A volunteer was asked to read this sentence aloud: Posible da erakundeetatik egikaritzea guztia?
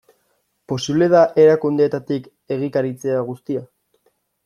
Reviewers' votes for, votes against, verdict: 2, 0, accepted